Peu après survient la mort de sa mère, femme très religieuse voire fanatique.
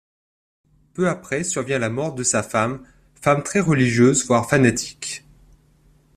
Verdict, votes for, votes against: rejected, 1, 2